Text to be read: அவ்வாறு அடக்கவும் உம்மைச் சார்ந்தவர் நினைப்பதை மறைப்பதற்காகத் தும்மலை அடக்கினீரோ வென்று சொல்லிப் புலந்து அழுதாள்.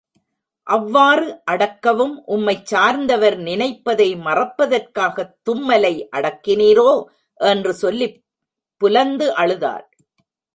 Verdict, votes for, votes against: rejected, 0, 2